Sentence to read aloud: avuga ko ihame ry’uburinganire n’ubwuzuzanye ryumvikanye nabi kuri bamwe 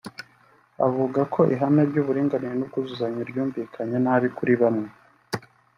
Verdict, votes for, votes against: accepted, 2, 0